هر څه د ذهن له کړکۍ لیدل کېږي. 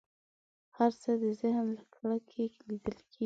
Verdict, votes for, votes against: rejected, 1, 2